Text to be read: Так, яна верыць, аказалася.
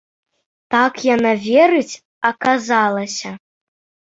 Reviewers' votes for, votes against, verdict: 2, 0, accepted